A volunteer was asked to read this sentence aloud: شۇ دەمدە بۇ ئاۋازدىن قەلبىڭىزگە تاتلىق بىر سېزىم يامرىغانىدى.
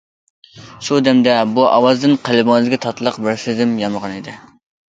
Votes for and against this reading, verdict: 2, 1, accepted